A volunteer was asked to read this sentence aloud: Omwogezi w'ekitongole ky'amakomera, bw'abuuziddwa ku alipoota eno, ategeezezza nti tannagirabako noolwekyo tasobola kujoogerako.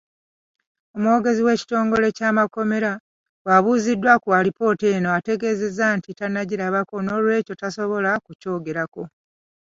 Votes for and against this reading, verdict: 0, 2, rejected